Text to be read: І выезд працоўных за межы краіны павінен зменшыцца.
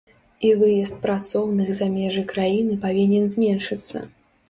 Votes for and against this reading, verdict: 2, 0, accepted